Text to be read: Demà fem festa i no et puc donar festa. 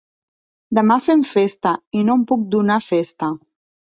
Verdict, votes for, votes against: accepted, 2, 1